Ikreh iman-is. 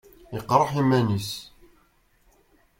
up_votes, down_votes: 0, 2